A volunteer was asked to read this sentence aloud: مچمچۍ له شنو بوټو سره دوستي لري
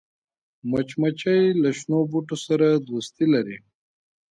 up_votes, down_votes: 1, 2